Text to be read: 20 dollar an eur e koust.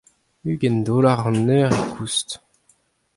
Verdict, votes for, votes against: rejected, 0, 2